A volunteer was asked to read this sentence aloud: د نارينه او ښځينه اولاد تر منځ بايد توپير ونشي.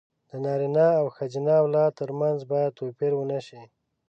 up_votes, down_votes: 0, 2